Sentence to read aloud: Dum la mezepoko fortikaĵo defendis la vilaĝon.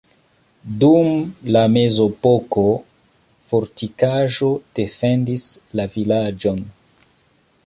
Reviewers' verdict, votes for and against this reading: accepted, 2, 1